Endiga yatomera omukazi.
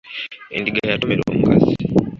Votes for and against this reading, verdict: 1, 2, rejected